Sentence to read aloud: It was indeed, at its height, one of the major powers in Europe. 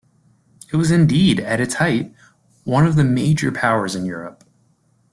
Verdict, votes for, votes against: accepted, 2, 0